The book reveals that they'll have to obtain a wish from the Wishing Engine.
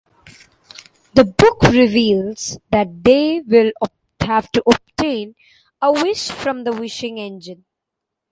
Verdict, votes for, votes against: rejected, 1, 2